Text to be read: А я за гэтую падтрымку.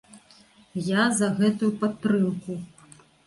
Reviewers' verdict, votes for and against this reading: rejected, 1, 2